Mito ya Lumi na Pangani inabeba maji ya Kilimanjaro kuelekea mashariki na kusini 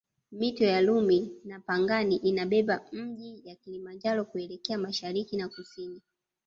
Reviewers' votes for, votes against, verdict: 0, 2, rejected